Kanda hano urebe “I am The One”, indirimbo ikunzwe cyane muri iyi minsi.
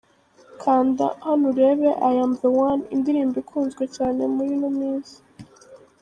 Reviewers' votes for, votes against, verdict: 0, 2, rejected